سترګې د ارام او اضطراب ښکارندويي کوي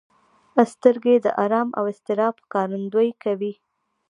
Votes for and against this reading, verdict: 2, 0, accepted